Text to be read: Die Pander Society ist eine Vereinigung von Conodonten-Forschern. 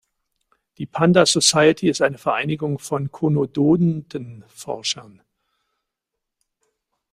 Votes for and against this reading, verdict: 0, 2, rejected